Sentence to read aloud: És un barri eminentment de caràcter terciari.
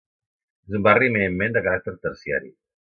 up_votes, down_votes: 0, 2